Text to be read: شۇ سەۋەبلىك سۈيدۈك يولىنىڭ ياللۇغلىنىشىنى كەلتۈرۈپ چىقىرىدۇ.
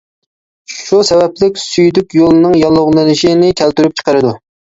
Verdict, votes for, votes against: accepted, 2, 0